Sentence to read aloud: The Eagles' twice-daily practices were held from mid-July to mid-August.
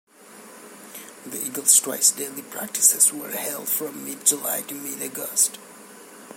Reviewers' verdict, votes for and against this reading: rejected, 1, 2